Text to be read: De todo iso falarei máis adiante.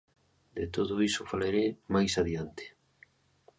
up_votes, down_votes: 2, 0